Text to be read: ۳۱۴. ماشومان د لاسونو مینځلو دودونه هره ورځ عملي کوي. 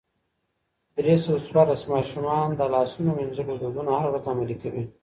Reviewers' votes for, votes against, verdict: 0, 2, rejected